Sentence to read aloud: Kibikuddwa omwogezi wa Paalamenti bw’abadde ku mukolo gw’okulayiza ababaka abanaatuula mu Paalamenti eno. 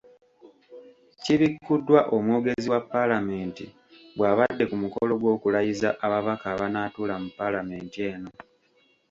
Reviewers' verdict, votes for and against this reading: accepted, 2, 0